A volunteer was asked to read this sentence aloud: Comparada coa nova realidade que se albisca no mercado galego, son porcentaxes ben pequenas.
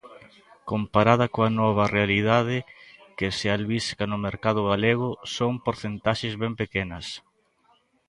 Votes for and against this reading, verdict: 2, 0, accepted